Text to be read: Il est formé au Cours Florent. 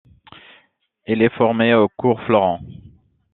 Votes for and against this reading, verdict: 2, 0, accepted